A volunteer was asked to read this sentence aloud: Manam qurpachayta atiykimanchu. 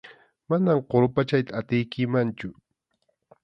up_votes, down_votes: 2, 0